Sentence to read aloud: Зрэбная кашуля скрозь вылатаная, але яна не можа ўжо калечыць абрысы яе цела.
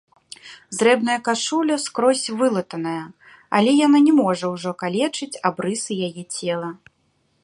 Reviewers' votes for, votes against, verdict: 2, 0, accepted